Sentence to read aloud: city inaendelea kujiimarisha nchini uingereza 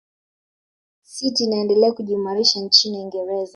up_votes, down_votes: 1, 2